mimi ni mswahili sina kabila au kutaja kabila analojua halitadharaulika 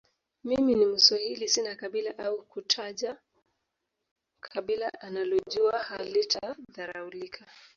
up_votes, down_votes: 0, 2